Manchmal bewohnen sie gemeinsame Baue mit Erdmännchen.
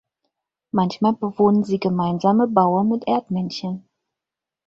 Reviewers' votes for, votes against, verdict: 4, 0, accepted